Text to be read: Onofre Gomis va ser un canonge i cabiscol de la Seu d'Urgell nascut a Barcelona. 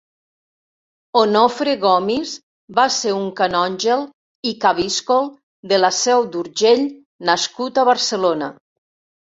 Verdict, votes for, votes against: accepted, 4, 2